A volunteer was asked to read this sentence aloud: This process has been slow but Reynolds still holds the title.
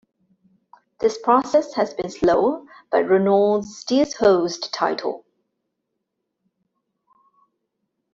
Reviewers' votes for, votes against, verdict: 2, 1, accepted